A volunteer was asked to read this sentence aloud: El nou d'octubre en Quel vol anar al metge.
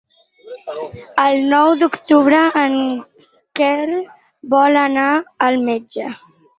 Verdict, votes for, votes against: rejected, 2, 4